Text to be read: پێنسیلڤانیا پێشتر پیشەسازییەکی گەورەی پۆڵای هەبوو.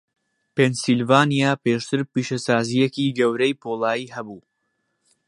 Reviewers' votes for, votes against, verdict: 4, 0, accepted